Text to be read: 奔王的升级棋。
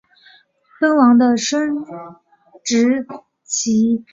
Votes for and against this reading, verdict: 0, 2, rejected